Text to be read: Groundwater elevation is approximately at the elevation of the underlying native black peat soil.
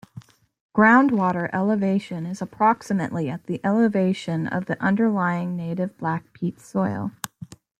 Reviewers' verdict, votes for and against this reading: accepted, 2, 0